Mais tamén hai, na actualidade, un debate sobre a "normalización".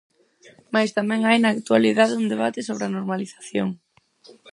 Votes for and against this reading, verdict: 4, 0, accepted